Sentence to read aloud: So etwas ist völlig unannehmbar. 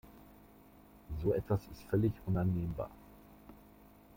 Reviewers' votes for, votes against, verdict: 2, 0, accepted